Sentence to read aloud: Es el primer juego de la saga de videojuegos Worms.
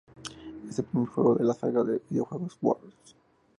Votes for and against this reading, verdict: 0, 2, rejected